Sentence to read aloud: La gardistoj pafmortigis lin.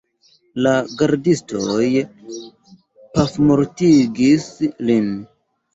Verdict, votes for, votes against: accepted, 2, 0